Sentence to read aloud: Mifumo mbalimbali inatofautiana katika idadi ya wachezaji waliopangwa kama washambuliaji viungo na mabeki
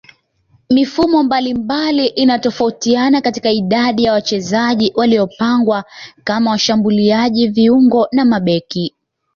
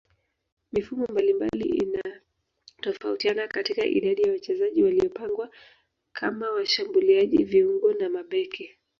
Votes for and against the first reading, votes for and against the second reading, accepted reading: 2, 0, 0, 2, first